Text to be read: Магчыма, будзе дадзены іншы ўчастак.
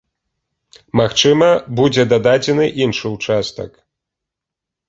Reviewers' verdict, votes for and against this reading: rejected, 1, 3